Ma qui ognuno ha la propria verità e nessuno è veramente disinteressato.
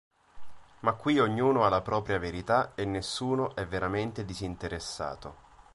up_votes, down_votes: 2, 0